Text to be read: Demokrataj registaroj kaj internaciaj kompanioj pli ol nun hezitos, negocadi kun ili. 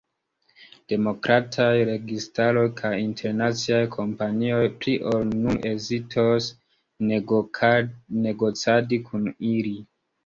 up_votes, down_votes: 2, 0